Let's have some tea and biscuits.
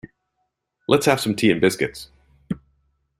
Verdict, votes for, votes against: accepted, 2, 0